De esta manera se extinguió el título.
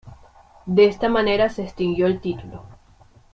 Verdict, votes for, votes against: accepted, 2, 1